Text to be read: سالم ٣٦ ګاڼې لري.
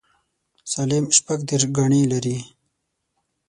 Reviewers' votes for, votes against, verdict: 0, 2, rejected